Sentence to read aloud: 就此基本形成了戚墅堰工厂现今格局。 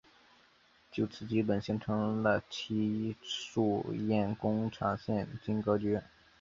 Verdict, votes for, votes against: accepted, 2, 1